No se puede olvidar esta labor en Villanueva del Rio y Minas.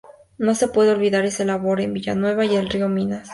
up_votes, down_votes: 2, 0